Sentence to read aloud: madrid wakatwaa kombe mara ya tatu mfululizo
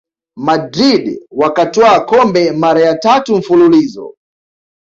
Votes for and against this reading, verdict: 2, 0, accepted